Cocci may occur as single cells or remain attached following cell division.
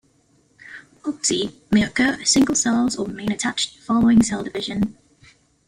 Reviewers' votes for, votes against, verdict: 2, 1, accepted